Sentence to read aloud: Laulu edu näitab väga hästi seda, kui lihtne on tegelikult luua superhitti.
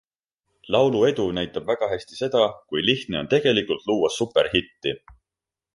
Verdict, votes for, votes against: accepted, 2, 0